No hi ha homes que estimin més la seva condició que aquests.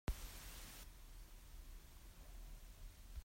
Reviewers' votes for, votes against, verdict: 0, 2, rejected